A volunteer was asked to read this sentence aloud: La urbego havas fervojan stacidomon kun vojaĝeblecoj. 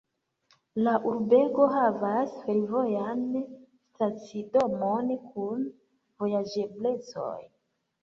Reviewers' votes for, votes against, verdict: 2, 0, accepted